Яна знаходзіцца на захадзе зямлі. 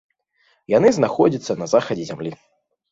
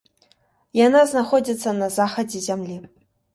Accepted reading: second